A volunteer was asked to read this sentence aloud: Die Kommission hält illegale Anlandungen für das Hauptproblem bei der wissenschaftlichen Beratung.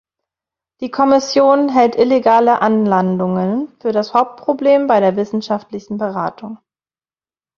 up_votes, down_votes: 2, 0